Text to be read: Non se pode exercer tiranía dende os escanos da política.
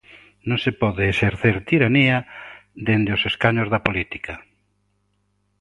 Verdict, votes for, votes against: accepted, 2, 0